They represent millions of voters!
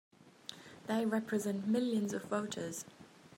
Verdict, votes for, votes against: accepted, 3, 0